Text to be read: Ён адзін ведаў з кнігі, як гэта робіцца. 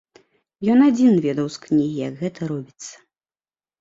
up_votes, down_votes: 2, 0